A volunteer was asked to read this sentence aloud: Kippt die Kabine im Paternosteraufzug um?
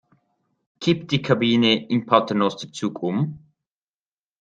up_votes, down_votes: 0, 2